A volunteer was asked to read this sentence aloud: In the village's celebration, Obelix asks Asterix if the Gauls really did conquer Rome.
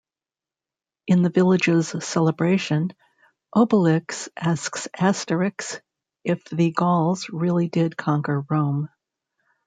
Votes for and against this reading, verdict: 2, 0, accepted